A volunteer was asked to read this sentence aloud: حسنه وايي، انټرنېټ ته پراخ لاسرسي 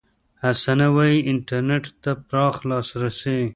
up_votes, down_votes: 2, 1